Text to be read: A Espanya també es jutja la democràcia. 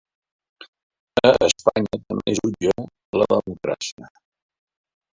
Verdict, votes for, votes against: rejected, 0, 4